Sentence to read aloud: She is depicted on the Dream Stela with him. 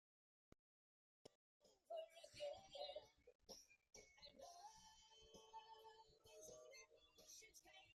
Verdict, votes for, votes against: rejected, 0, 2